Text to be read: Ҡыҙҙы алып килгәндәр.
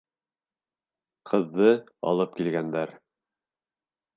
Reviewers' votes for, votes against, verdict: 2, 0, accepted